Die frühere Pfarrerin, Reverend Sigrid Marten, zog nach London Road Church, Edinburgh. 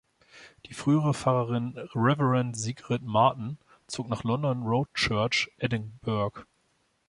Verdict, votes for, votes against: rejected, 1, 2